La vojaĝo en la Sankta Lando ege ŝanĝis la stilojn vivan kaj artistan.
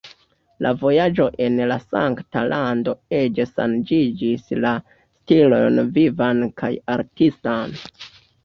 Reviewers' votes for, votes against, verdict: 1, 2, rejected